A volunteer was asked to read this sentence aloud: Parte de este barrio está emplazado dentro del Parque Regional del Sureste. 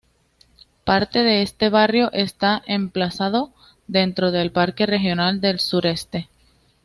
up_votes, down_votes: 2, 0